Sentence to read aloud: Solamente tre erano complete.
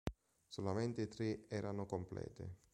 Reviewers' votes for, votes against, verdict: 2, 0, accepted